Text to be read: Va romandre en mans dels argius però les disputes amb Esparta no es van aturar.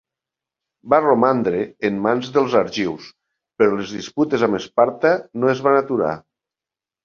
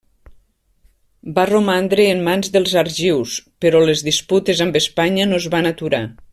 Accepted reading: first